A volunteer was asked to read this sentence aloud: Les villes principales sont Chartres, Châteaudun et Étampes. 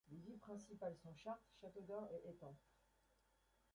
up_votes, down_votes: 0, 2